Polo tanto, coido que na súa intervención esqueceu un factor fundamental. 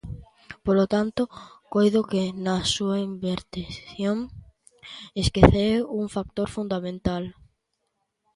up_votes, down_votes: 0, 2